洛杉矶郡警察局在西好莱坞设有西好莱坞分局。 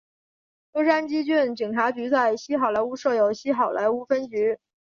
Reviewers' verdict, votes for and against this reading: accepted, 4, 0